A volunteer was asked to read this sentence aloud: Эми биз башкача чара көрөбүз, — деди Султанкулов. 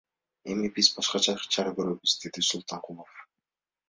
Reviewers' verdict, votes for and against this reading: rejected, 1, 2